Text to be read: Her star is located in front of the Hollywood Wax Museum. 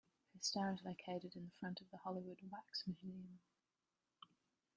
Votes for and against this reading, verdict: 1, 2, rejected